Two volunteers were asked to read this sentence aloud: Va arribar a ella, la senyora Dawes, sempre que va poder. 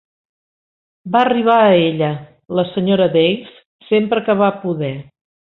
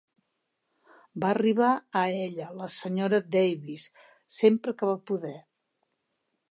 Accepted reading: second